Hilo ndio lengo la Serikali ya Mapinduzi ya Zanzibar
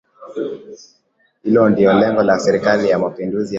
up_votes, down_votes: 2, 0